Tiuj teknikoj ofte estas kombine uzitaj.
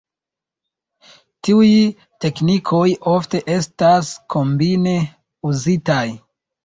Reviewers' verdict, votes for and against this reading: accepted, 2, 0